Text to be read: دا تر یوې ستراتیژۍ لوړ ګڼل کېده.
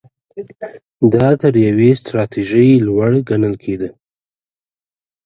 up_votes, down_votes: 2, 0